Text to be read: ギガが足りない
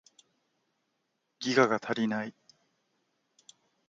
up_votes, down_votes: 3, 0